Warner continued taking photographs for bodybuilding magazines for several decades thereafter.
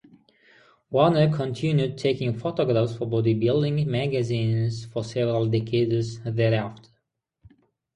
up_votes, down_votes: 6, 0